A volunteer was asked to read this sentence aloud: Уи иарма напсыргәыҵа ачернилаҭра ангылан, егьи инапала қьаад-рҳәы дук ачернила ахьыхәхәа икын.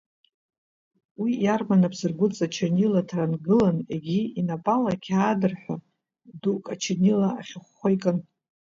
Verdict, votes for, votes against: accepted, 2, 0